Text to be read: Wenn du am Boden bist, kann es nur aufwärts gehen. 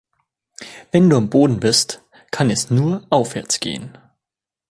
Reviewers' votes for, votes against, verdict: 2, 0, accepted